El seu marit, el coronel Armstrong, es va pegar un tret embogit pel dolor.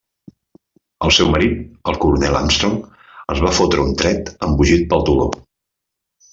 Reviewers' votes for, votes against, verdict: 0, 2, rejected